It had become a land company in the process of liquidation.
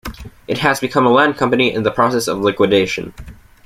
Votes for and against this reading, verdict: 1, 2, rejected